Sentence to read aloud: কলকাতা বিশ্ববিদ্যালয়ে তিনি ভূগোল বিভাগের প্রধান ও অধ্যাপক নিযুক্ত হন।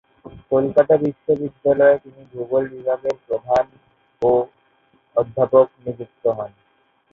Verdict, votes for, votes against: accepted, 4, 0